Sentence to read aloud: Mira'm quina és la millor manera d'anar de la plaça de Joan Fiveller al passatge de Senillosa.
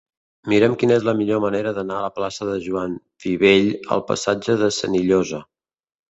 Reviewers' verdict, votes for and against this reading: rejected, 0, 2